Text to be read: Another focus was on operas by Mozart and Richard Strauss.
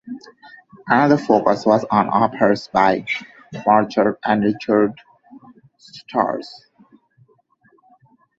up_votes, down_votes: 0, 2